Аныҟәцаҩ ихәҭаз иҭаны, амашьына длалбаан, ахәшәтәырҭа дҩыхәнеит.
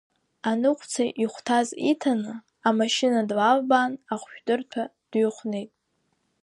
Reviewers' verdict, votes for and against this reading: rejected, 1, 2